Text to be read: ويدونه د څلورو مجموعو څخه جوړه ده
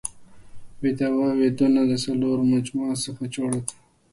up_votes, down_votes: 1, 2